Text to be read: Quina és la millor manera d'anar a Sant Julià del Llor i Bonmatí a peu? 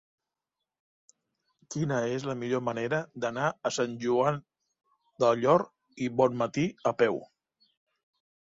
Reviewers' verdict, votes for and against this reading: rejected, 1, 2